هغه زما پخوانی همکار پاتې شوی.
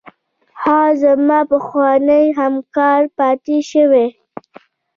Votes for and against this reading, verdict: 2, 0, accepted